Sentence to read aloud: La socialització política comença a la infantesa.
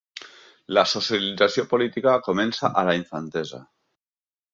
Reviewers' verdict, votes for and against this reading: accepted, 2, 1